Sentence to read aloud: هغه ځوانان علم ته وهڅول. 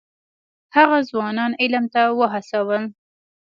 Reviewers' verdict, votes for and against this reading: accepted, 2, 0